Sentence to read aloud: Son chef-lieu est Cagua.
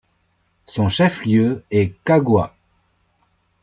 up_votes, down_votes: 2, 0